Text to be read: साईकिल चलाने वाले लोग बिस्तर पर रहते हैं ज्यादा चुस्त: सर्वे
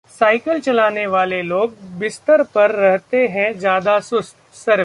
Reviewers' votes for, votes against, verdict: 2, 1, accepted